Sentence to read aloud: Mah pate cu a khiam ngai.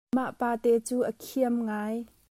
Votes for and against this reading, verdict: 2, 0, accepted